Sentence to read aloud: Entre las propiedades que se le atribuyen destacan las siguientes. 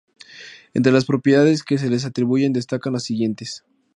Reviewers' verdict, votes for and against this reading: accepted, 2, 0